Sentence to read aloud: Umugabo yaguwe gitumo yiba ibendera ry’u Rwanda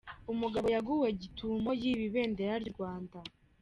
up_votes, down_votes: 2, 0